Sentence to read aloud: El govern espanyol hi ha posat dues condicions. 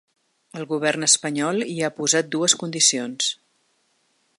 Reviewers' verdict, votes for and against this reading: accepted, 4, 0